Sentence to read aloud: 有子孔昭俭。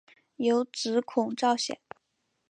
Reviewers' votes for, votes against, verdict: 6, 0, accepted